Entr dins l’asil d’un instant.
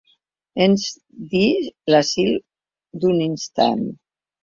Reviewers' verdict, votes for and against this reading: rejected, 0, 2